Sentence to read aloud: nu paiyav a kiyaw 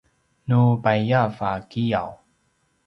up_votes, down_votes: 2, 0